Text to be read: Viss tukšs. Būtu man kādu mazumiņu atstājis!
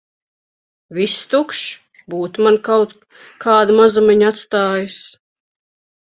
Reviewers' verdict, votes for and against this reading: rejected, 0, 2